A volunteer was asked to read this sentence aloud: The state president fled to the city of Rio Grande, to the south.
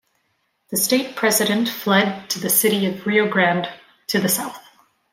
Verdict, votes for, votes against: accepted, 2, 0